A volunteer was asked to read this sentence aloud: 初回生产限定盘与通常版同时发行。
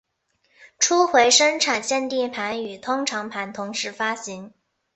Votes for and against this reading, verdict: 2, 1, accepted